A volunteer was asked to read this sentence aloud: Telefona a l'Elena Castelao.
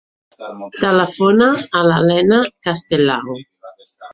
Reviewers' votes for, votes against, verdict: 2, 0, accepted